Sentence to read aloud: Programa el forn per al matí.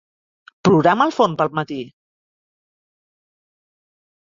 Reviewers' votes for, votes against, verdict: 0, 2, rejected